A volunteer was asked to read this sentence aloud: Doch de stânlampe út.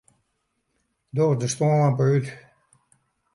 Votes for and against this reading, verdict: 0, 2, rejected